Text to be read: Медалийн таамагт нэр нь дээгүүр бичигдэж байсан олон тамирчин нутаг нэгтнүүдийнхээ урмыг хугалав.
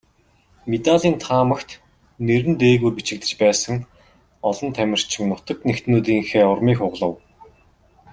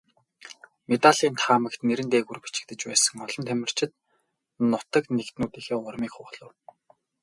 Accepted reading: first